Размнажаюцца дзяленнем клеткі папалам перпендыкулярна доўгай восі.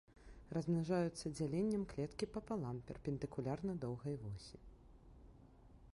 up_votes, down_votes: 2, 1